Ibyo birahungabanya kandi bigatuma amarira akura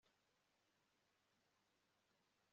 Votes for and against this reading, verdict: 1, 2, rejected